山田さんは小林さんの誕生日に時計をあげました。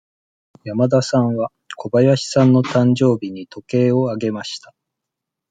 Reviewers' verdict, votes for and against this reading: accepted, 2, 0